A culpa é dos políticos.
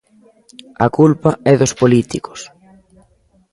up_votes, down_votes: 2, 0